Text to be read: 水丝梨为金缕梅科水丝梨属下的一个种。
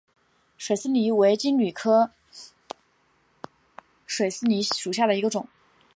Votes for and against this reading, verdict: 1, 2, rejected